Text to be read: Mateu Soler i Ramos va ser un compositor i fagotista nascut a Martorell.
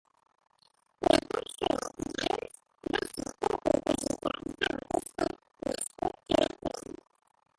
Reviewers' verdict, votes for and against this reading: rejected, 0, 2